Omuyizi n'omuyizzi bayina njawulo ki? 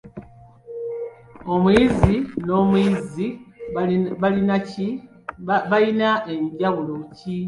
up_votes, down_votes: 0, 2